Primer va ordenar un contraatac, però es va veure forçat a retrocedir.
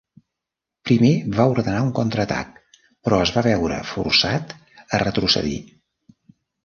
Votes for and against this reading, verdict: 3, 0, accepted